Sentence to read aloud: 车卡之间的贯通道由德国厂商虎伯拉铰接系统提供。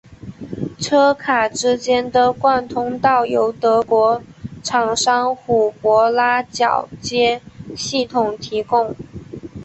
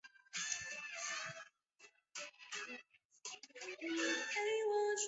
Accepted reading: first